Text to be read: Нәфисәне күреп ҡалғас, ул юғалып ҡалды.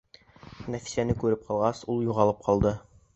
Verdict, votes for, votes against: accepted, 2, 0